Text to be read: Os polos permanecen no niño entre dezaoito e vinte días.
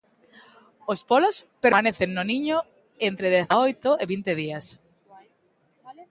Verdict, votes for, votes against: rejected, 1, 2